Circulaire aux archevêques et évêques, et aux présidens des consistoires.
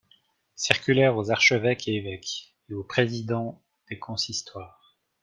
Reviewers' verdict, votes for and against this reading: accepted, 2, 0